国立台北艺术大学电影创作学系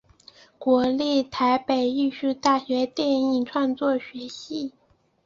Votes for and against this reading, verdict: 2, 0, accepted